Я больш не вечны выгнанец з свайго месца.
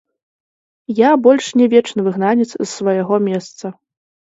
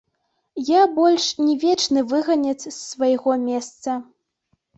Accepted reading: first